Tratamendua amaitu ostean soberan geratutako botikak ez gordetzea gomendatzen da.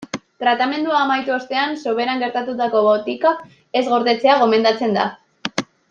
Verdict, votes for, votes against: accepted, 2, 0